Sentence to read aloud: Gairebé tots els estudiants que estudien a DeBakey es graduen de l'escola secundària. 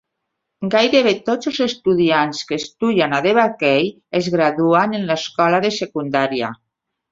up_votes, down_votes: 0, 2